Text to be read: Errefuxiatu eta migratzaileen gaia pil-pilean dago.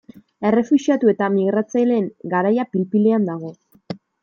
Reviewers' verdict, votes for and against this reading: rejected, 0, 2